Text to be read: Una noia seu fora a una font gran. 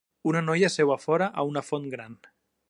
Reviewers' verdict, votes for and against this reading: accepted, 2, 0